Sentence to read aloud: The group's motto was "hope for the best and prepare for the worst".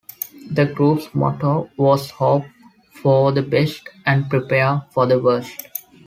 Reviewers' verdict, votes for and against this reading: accepted, 2, 0